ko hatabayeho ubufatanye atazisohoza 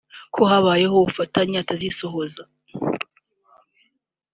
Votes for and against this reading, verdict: 2, 0, accepted